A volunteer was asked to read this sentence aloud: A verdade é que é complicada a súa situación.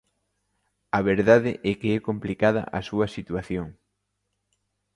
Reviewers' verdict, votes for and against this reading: accepted, 2, 0